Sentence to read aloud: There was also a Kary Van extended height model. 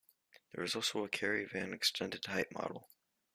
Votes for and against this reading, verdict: 3, 0, accepted